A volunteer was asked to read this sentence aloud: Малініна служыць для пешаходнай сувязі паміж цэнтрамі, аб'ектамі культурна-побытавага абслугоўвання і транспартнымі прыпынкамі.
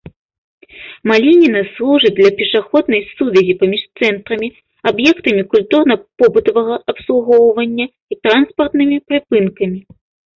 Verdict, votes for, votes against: accepted, 2, 0